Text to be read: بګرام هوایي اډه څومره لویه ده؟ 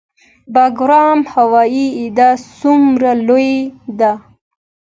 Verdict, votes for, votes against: accepted, 2, 0